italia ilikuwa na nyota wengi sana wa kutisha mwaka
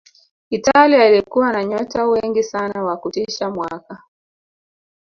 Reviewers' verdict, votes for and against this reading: accepted, 2, 0